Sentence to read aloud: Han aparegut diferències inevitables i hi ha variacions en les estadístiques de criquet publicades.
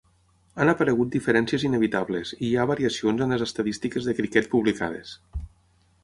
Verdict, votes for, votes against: accepted, 6, 0